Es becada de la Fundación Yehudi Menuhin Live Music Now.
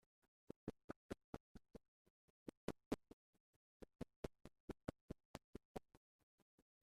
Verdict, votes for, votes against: rejected, 1, 2